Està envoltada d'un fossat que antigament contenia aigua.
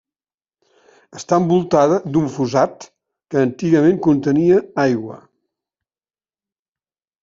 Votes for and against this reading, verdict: 0, 2, rejected